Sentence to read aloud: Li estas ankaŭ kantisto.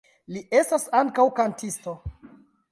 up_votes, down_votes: 1, 2